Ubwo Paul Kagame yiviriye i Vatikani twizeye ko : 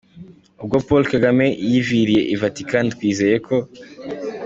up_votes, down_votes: 2, 0